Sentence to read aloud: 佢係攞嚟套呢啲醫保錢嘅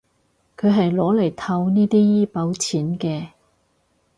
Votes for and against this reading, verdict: 4, 0, accepted